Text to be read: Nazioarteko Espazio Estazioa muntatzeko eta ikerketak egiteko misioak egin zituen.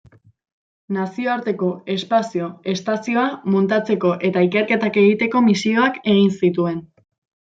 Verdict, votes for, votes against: accepted, 2, 0